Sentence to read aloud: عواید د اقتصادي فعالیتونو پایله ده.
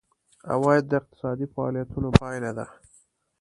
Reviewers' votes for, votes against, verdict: 2, 0, accepted